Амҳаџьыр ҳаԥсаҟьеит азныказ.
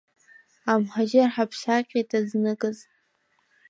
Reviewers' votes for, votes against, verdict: 3, 5, rejected